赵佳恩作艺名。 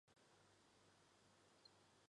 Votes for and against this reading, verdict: 3, 4, rejected